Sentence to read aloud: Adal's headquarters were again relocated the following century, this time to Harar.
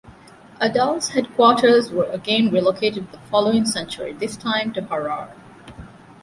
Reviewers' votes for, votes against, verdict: 2, 1, accepted